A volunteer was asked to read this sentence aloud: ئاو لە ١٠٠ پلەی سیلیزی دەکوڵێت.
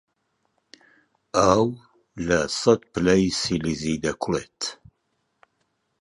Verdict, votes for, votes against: rejected, 0, 2